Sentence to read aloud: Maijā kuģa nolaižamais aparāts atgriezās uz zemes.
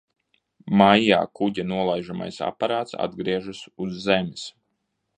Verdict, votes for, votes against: rejected, 0, 2